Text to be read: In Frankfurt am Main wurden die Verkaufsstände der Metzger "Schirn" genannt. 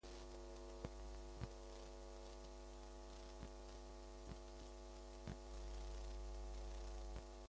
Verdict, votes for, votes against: rejected, 0, 2